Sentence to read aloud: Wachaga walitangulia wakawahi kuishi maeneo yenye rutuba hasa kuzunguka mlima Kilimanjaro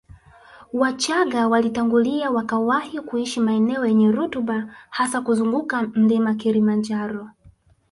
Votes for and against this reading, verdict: 1, 2, rejected